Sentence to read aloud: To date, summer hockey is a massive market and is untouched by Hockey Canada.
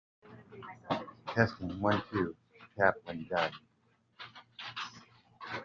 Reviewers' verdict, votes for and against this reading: rejected, 0, 2